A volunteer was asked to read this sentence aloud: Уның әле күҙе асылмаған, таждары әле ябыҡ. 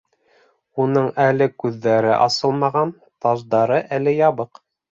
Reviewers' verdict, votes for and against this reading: rejected, 0, 2